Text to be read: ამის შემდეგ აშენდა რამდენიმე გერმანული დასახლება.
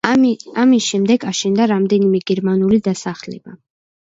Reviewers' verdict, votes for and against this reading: rejected, 1, 2